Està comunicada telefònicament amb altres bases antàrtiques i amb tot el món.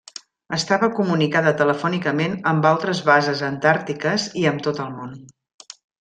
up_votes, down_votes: 0, 2